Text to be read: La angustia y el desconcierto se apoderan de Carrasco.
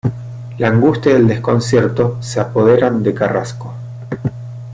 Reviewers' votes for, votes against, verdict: 0, 2, rejected